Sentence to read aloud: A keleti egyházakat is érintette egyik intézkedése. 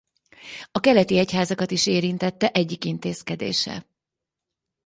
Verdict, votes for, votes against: accepted, 6, 0